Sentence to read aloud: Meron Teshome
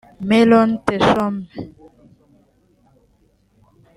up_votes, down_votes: 2, 0